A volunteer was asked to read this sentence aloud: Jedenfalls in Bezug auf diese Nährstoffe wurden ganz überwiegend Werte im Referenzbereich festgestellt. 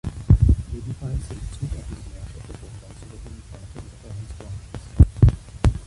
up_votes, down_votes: 0, 2